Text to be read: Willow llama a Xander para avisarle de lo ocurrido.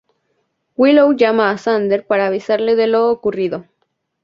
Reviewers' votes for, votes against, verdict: 2, 0, accepted